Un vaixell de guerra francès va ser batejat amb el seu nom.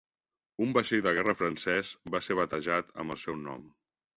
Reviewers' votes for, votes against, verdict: 3, 0, accepted